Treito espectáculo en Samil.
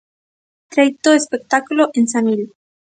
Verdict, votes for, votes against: accepted, 2, 0